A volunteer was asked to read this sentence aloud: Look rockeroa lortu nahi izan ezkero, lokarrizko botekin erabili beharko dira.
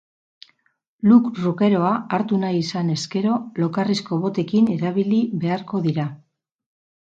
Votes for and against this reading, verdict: 0, 4, rejected